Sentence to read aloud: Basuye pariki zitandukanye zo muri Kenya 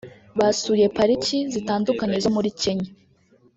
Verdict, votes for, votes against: rejected, 1, 2